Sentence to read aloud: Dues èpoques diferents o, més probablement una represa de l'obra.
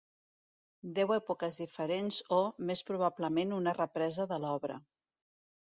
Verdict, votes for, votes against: rejected, 1, 2